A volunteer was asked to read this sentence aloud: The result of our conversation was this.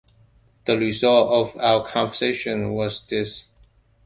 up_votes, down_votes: 2, 0